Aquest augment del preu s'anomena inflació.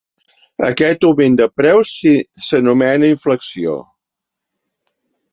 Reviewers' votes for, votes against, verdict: 0, 3, rejected